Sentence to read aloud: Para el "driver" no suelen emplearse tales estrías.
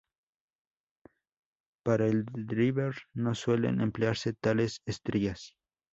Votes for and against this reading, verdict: 0, 2, rejected